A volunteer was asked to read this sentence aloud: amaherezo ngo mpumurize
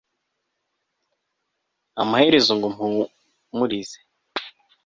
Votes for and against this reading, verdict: 4, 0, accepted